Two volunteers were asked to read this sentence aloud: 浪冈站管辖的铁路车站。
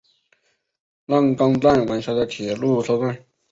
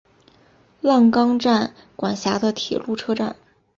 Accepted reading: second